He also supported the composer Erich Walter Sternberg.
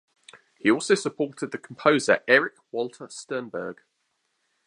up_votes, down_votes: 2, 0